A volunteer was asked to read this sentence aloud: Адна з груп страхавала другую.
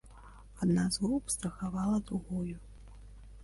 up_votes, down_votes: 1, 2